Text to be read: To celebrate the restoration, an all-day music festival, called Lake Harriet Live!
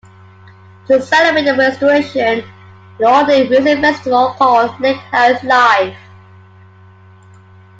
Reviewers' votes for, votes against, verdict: 1, 2, rejected